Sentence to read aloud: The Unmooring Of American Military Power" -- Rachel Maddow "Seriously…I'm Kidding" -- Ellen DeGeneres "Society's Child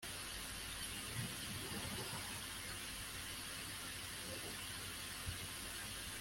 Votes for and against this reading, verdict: 0, 2, rejected